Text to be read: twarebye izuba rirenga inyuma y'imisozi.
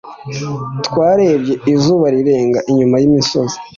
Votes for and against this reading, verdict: 2, 0, accepted